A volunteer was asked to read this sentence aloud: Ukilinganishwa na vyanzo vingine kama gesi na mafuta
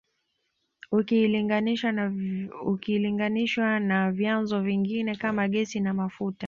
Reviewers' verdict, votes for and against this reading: accepted, 2, 0